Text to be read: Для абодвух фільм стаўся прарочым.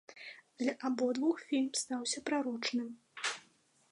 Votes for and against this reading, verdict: 0, 2, rejected